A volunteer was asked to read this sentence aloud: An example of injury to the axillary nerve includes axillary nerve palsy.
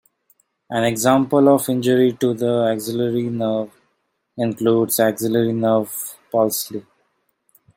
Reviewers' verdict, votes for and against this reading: accepted, 2, 0